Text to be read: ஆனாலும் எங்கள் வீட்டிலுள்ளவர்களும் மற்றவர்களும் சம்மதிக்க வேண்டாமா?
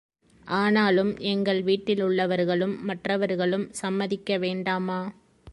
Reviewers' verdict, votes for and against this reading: accepted, 2, 0